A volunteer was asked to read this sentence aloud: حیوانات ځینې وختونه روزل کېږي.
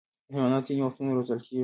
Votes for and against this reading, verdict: 2, 1, accepted